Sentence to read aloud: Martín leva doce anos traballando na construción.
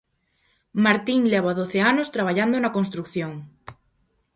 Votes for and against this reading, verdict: 0, 4, rejected